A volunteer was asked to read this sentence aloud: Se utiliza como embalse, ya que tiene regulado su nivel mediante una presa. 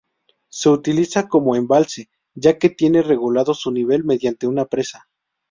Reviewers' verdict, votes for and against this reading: accepted, 2, 0